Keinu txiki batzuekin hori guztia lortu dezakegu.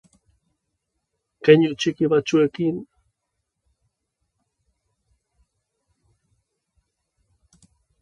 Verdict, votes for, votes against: rejected, 0, 2